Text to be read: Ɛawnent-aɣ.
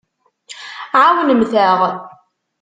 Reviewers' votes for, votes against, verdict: 1, 2, rejected